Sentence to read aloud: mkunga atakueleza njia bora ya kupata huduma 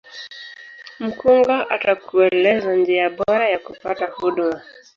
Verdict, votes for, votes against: rejected, 1, 2